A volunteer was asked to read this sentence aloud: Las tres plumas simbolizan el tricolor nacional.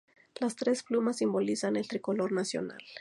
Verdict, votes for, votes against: accepted, 2, 0